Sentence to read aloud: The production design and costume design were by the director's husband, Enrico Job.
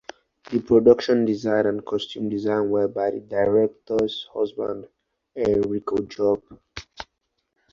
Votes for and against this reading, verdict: 2, 0, accepted